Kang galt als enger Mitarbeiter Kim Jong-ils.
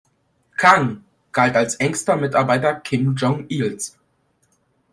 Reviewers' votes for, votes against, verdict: 0, 2, rejected